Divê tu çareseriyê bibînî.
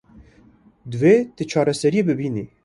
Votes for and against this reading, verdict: 2, 0, accepted